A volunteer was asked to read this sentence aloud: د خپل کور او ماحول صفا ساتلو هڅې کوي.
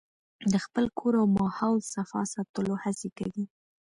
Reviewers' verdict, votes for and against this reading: accepted, 2, 0